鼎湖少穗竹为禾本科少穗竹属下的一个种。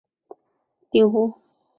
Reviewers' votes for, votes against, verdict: 0, 2, rejected